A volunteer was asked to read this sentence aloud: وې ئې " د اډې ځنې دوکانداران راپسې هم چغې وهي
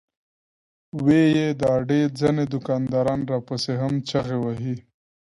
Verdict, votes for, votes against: accepted, 2, 0